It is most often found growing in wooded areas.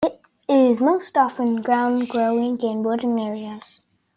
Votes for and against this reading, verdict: 1, 2, rejected